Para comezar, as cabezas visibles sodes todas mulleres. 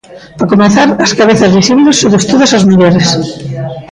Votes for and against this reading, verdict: 0, 3, rejected